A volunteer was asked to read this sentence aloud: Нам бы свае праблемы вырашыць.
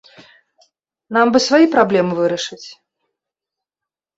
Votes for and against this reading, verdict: 0, 2, rejected